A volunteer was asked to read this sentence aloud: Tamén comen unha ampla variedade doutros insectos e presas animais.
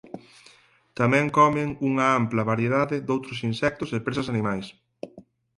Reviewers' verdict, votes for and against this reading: accepted, 4, 0